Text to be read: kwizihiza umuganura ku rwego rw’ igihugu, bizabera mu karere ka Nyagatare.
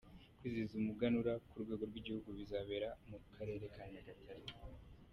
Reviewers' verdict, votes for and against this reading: accepted, 2, 0